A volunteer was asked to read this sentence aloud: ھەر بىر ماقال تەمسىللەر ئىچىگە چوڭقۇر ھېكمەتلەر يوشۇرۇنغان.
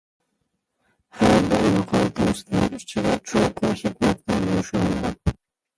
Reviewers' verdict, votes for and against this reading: rejected, 0, 2